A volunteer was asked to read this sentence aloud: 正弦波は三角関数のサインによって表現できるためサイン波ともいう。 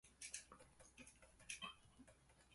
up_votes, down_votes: 0, 4